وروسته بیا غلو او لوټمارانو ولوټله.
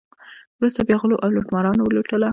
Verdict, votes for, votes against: rejected, 0, 2